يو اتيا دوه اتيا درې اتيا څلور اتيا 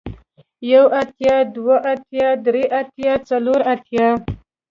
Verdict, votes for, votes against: accepted, 2, 1